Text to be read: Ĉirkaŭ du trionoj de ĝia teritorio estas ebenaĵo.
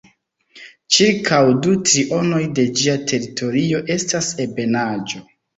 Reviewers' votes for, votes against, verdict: 2, 0, accepted